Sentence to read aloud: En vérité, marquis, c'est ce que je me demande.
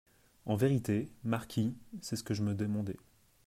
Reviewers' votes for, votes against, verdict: 0, 2, rejected